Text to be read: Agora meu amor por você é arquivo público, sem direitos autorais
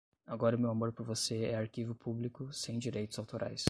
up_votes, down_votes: 0, 5